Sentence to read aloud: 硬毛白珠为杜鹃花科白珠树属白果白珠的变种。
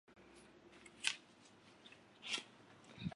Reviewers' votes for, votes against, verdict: 0, 2, rejected